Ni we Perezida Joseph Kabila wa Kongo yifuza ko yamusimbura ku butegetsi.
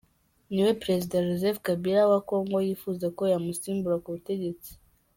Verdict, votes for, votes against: accepted, 2, 1